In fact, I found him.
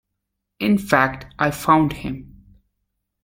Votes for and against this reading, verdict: 2, 0, accepted